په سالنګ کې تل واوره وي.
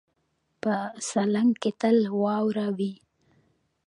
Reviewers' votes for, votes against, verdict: 2, 0, accepted